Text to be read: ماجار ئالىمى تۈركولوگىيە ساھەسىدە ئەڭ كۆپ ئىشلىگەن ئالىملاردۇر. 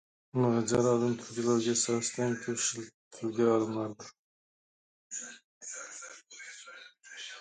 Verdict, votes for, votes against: rejected, 0, 2